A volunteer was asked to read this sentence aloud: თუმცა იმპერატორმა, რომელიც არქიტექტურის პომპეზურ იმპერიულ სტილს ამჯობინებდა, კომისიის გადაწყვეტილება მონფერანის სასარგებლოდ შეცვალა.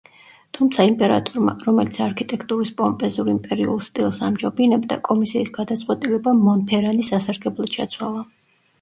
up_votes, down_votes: 2, 0